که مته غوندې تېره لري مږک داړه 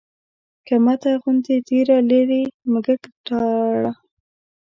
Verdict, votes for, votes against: rejected, 1, 2